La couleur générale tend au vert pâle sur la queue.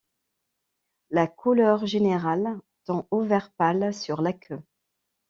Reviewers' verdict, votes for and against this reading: accepted, 2, 0